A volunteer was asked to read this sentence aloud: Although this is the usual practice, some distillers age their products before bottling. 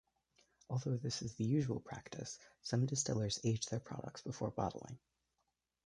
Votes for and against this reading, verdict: 1, 2, rejected